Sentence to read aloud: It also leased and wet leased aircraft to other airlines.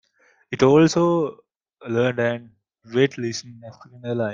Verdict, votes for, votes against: rejected, 0, 2